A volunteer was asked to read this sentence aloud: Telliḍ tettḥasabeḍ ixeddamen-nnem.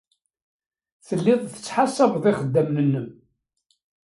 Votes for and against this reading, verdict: 2, 1, accepted